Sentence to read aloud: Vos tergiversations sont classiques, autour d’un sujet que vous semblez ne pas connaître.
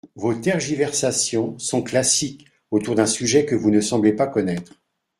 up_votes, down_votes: 0, 2